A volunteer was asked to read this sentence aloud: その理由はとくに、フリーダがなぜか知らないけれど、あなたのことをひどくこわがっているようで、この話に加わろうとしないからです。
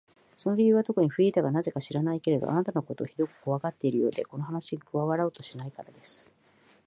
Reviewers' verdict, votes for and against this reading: rejected, 0, 2